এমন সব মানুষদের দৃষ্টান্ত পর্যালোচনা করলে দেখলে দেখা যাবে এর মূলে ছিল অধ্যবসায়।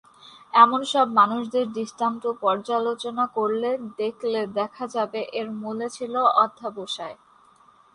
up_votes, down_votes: 0, 2